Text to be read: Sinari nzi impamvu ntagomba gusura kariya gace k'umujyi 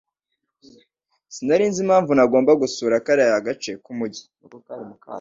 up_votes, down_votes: 2, 0